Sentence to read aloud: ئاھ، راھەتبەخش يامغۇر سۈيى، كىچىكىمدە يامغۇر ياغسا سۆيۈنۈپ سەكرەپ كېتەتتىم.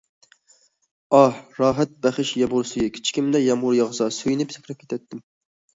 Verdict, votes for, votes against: rejected, 0, 2